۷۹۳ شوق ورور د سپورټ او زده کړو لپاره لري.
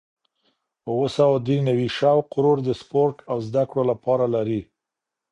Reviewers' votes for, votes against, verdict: 0, 2, rejected